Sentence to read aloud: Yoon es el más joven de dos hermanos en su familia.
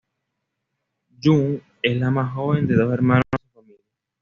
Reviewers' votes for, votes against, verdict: 1, 2, rejected